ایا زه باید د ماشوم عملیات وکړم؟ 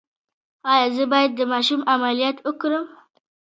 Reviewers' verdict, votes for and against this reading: accepted, 3, 0